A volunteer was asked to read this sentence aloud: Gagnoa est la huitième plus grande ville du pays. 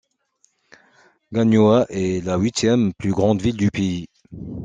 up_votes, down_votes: 2, 0